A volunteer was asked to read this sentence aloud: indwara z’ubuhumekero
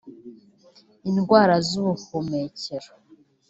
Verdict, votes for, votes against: rejected, 0, 2